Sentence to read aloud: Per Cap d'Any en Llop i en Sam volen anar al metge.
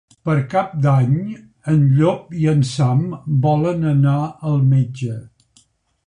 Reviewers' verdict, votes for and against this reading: accepted, 3, 0